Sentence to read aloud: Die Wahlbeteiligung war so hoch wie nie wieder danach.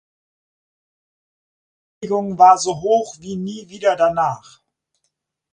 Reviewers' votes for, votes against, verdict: 0, 4, rejected